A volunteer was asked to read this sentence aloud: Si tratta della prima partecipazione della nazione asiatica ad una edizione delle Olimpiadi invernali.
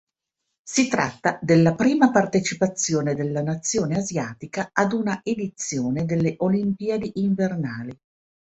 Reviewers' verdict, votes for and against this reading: accepted, 2, 0